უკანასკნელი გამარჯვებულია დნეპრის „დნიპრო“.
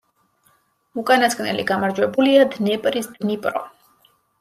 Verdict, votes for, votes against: accepted, 2, 0